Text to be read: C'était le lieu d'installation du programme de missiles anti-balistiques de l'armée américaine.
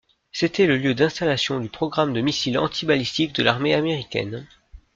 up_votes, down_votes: 2, 0